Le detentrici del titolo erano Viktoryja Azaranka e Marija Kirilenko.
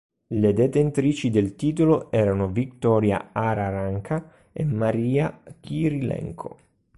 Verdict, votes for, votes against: rejected, 0, 4